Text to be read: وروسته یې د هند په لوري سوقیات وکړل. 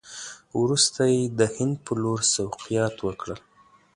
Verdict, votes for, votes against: accepted, 2, 0